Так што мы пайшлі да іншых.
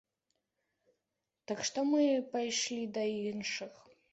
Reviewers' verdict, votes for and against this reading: accepted, 2, 0